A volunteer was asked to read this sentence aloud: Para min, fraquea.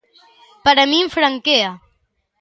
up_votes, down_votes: 0, 2